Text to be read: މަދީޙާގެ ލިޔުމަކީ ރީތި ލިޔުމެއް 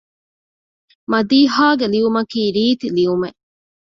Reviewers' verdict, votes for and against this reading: accepted, 2, 0